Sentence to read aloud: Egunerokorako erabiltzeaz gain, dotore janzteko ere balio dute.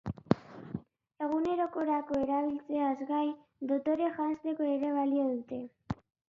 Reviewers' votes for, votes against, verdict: 3, 0, accepted